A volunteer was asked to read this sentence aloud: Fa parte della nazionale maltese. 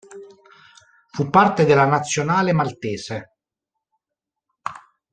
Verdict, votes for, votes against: rejected, 0, 2